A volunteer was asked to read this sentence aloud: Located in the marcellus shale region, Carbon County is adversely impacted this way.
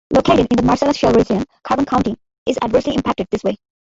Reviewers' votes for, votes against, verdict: 0, 2, rejected